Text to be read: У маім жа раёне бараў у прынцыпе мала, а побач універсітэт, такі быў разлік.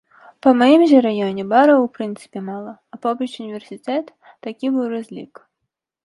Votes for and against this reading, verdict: 1, 2, rejected